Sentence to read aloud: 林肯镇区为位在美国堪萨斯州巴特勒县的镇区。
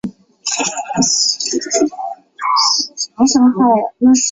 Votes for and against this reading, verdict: 0, 3, rejected